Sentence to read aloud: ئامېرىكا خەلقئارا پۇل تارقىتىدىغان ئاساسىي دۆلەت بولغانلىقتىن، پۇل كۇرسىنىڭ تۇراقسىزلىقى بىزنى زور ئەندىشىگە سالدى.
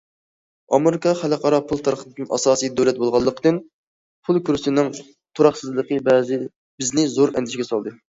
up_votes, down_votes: 0, 2